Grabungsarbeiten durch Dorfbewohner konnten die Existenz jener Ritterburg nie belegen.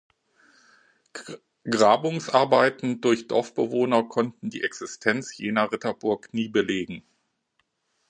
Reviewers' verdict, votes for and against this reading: rejected, 1, 2